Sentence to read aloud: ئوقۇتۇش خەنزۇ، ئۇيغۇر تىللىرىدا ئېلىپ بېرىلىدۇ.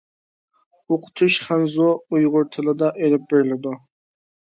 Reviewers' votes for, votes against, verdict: 1, 2, rejected